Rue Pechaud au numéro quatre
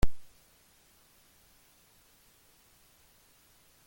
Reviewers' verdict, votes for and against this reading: rejected, 1, 2